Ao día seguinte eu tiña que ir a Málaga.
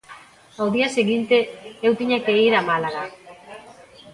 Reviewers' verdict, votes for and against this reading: rejected, 0, 2